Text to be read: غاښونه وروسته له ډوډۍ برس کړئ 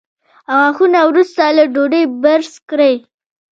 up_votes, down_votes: 2, 0